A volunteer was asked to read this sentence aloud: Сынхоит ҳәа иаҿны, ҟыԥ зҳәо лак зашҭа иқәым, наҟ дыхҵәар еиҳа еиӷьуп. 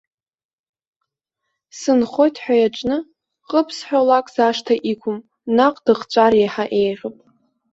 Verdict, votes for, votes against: accepted, 2, 0